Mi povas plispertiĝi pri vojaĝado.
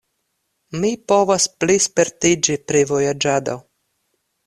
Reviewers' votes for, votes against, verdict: 2, 0, accepted